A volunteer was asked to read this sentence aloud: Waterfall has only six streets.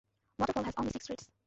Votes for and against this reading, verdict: 1, 2, rejected